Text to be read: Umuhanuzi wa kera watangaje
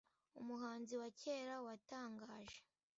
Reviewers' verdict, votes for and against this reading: rejected, 0, 2